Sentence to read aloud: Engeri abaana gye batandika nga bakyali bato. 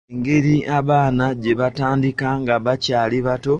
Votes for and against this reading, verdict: 2, 1, accepted